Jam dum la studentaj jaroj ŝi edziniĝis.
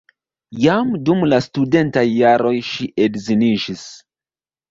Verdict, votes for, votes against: accepted, 2, 0